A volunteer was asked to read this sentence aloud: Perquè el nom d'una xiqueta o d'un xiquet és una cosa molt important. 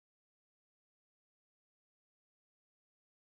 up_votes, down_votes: 0, 2